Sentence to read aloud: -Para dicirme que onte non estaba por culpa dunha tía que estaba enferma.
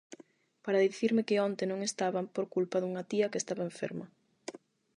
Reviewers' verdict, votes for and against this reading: rejected, 0, 8